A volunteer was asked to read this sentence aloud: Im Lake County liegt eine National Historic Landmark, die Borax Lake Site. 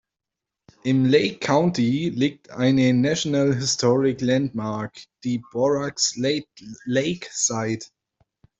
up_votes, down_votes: 0, 2